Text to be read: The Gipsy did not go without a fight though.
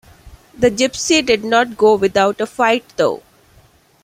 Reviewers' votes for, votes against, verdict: 2, 1, accepted